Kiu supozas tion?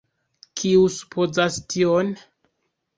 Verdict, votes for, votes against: accepted, 2, 1